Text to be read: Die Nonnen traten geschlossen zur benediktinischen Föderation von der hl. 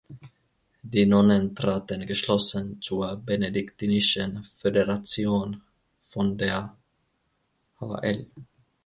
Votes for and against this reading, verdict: 2, 3, rejected